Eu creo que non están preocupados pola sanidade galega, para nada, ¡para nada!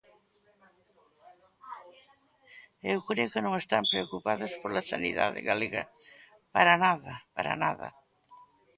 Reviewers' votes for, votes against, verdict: 2, 0, accepted